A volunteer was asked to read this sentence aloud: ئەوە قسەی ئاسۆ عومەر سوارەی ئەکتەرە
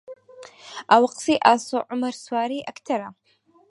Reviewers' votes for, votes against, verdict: 4, 0, accepted